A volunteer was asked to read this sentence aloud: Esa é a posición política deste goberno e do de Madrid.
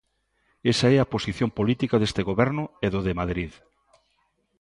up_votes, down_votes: 2, 0